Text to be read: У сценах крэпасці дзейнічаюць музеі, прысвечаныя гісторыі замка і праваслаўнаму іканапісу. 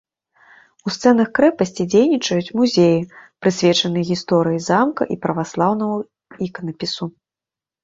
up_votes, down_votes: 0, 2